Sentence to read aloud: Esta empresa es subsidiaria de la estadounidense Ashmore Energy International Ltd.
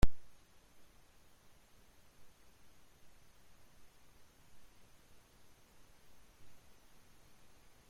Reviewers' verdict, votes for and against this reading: rejected, 0, 2